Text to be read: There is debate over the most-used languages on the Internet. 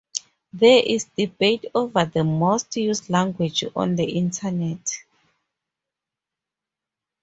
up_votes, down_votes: 2, 0